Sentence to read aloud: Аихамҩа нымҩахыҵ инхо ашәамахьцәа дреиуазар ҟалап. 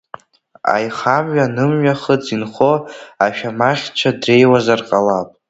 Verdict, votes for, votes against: rejected, 1, 2